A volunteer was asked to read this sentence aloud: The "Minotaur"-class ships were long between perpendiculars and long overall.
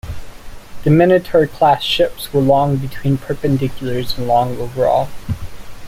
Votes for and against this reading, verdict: 1, 2, rejected